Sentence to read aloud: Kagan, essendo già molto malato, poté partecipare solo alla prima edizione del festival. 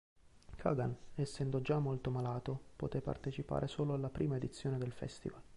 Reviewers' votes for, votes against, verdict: 2, 0, accepted